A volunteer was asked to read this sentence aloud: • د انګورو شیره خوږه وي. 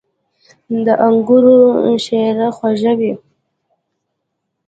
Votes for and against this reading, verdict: 0, 2, rejected